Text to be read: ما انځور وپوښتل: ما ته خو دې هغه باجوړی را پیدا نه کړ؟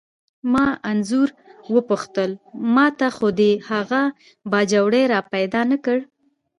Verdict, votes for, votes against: rejected, 1, 2